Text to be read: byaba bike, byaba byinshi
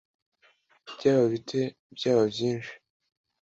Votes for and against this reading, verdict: 2, 0, accepted